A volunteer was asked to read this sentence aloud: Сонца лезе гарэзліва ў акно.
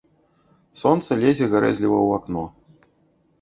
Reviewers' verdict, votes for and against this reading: accepted, 2, 0